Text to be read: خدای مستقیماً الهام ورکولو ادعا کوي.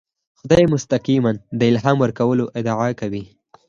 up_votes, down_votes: 4, 0